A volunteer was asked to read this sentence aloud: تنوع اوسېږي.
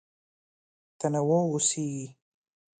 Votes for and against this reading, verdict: 2, 0, accepted